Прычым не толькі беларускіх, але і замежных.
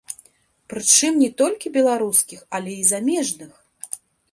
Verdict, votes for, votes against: rejected, 1, 2